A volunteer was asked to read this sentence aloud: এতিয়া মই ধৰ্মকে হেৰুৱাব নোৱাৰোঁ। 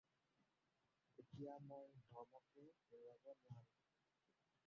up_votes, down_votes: 0, 4